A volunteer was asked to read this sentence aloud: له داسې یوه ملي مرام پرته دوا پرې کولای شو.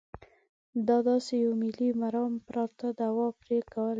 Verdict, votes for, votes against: rejected, 0, 2